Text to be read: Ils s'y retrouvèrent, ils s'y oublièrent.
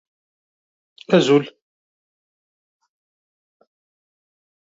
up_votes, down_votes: 0, 2